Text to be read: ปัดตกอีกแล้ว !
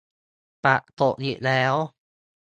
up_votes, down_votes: 2, 0